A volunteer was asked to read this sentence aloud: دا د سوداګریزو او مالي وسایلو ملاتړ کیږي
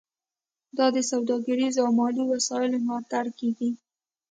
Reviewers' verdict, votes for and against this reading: accepted, 2, 0